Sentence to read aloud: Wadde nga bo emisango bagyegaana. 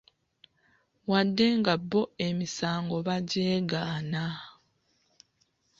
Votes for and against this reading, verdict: 2, 0, accepted